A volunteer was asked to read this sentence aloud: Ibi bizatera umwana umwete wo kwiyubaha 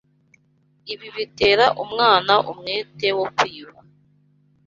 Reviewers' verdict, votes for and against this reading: rejected, 0, 2